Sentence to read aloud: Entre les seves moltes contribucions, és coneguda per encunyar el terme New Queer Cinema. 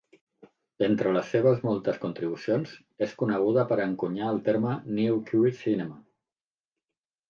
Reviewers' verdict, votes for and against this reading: accepted, 2, 0